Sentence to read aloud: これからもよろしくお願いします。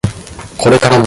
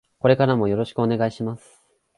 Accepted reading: second